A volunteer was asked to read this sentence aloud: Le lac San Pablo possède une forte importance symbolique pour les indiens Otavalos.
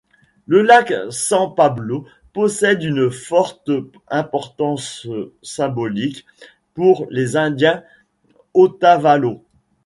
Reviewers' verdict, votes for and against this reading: accepted, 2, 0